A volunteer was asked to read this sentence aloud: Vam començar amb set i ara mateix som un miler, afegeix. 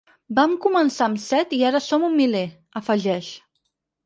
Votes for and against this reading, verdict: 2, 4, rejected